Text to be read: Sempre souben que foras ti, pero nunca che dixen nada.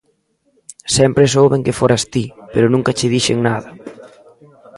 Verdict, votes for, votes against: rejected, 1, 2